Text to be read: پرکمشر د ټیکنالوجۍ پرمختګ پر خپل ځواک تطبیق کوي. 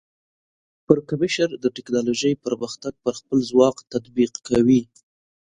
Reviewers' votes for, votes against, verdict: 2, 0, accepted